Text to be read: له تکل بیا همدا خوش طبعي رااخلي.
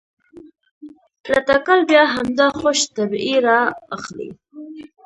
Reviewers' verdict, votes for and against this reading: accepted, 2, 0